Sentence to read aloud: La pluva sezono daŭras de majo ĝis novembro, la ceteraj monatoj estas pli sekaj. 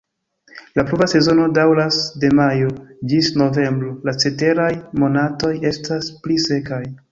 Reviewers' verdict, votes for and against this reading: accepted, 3, 1